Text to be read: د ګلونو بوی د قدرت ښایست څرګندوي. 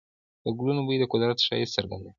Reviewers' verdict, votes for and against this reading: accepted, 2, 0